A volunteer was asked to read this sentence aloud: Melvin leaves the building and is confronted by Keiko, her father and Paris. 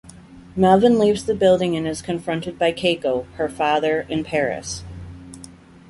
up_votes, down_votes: 2, 0